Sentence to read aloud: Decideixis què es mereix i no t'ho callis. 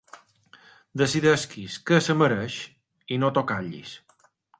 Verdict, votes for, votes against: rejected, 0, 2